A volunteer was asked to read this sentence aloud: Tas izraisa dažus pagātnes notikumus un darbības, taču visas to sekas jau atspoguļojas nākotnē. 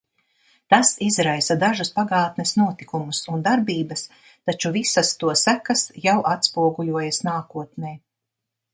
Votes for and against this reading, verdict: 2, 0, accepted